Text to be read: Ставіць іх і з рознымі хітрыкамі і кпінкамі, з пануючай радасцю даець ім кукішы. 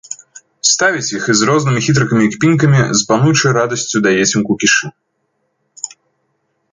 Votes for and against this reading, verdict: 2, 0, accepted